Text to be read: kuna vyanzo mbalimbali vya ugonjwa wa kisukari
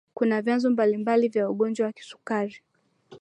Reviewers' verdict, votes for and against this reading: accepted, 2, 0